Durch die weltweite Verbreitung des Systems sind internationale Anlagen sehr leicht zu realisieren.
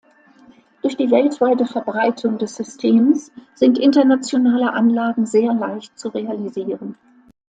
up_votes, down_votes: 2, 0